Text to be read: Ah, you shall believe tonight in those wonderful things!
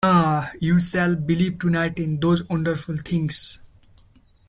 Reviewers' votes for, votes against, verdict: 1, 2, rejected